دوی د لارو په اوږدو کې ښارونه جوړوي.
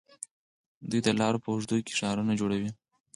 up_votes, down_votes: 4, 0